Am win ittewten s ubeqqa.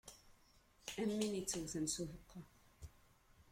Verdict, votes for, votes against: accepted, 2, 1